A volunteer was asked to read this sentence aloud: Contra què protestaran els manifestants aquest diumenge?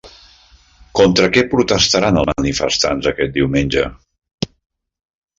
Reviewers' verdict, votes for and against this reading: rejected, 1, 2